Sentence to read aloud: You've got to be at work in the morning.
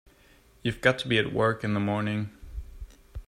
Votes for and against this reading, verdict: 2, 0, accepted